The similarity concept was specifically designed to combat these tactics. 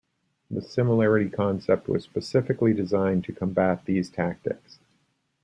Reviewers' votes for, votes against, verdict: 0, 2, rejected